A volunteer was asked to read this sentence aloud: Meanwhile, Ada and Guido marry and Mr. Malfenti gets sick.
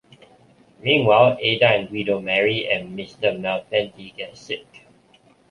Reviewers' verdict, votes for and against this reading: accepted, 2, 0